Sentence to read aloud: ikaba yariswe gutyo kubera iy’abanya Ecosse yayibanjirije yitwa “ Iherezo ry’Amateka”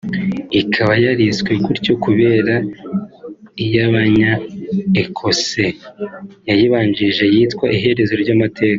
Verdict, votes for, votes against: accepted, 3, 0